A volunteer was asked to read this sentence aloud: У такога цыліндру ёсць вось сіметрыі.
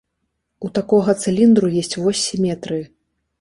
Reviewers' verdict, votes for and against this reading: accepted, 2, 0